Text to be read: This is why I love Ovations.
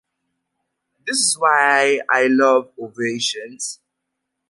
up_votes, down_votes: 2, 1